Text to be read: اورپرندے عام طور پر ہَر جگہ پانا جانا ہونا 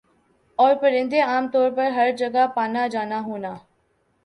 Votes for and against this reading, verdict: 2, 0, accepted